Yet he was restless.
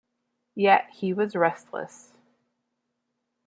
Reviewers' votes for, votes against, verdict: 2, 0, accepted